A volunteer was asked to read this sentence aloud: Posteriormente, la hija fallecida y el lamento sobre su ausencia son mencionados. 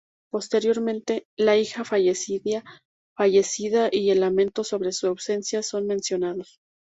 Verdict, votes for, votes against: rejected, 0, 2